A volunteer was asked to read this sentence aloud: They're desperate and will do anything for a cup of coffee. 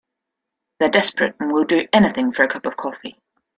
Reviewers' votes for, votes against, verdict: 2, 0, accepted